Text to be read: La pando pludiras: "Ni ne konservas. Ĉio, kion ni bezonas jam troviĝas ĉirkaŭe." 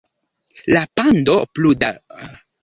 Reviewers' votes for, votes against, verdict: 0, 2, rejected